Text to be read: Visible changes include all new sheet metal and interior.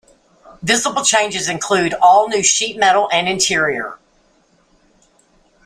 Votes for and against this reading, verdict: 2, 0, accepted